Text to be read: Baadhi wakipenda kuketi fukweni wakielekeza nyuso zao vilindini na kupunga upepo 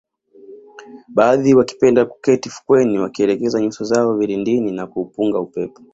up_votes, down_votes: 2, 1